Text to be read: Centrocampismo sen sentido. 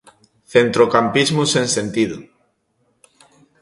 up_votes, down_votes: 2, 0